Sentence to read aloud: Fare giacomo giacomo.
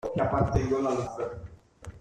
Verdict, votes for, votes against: rejected, 0, 2